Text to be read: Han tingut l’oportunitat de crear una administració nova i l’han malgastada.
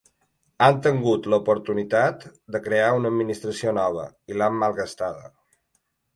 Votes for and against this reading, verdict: 2, 0, accepted